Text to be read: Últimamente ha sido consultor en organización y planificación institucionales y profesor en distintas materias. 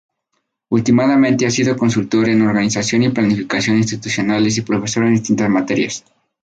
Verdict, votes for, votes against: rejected, 0, 2